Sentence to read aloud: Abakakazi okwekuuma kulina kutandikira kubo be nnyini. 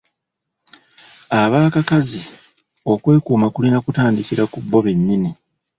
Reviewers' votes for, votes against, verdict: 2, 0, accepted